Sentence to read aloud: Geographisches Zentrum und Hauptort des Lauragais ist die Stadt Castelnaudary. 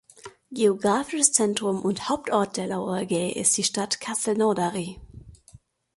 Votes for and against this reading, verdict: 2, 0, accepted